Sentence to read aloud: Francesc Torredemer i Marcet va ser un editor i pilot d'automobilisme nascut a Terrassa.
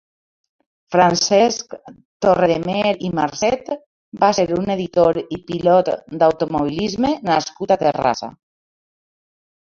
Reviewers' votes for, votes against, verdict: 2, 0, accepted